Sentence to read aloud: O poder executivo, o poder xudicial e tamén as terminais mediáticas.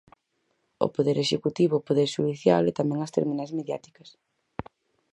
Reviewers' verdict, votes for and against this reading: accepted, 4, 0